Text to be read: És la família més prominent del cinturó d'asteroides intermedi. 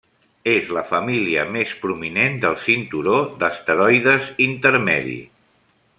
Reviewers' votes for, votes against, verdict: 3, 0, accepted